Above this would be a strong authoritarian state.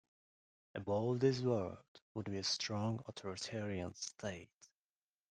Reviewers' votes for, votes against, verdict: 0, 2, rejected